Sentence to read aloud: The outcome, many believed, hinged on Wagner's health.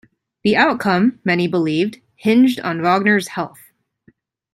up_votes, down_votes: 2, 0